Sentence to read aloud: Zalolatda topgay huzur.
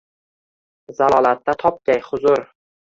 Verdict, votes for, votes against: rejected, 1, 2